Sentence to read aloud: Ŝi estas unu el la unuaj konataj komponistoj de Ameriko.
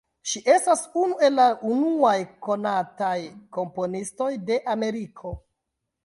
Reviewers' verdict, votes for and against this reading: rejected, 1, 2